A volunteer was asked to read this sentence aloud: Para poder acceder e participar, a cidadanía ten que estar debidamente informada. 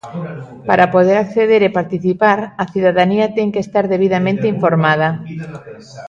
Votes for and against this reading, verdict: 0, 2, rejected